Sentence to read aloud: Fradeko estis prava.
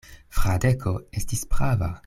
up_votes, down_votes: 2, 0